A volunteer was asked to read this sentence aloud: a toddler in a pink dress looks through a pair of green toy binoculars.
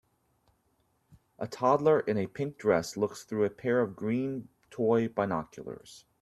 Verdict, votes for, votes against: accepted, 2, 0